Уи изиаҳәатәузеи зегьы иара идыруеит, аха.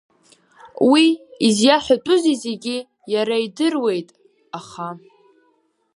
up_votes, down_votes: 2, 0